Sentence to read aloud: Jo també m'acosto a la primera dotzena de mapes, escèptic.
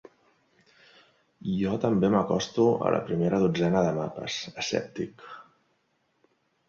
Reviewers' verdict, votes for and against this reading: accepted, 3, 0